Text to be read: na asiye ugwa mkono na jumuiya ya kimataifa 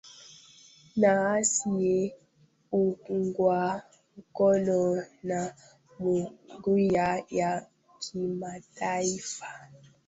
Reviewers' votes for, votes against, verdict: 1, 2, rejected